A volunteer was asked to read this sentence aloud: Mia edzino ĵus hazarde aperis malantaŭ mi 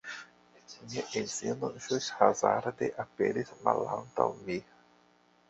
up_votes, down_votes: 0, 2